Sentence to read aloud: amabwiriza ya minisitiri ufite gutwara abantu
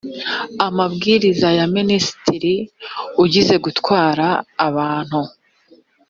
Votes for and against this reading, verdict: 1, 3, rejected